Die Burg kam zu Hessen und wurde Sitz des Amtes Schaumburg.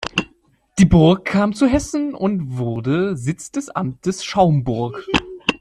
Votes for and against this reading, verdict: 2, 0, accepted